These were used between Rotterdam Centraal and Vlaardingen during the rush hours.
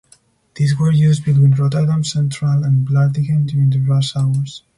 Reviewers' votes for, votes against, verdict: 4, 0, accepted